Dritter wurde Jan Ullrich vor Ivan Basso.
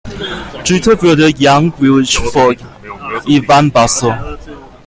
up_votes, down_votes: 0, 2